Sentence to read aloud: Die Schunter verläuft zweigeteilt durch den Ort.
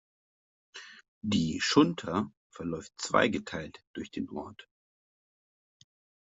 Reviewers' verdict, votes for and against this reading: accepted, 2, 0